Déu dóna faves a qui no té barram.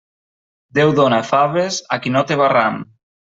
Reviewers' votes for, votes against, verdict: 2, 0, accepted